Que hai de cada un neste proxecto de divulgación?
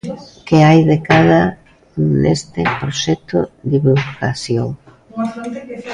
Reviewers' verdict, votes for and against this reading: rejected, 0, 2